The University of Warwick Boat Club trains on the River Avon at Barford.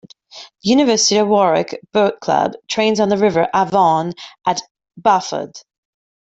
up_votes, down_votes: 0, 2